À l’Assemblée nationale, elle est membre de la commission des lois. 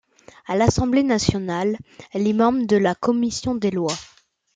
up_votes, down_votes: 2, 0